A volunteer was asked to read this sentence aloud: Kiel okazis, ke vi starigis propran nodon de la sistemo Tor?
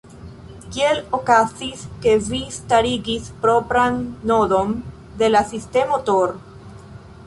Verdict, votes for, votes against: rejected, 1, 2